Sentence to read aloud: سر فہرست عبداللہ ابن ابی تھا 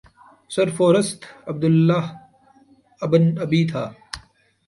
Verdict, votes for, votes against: rejected, 0, 2